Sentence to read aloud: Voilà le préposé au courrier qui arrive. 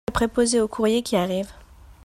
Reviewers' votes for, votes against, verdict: 0, 2, rejected